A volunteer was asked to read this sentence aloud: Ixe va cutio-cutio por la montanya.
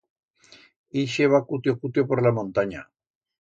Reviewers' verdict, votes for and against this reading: accepted, 2, 0